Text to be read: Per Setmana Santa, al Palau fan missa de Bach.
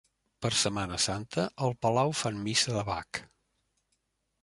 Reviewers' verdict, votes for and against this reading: accepted, 2, 0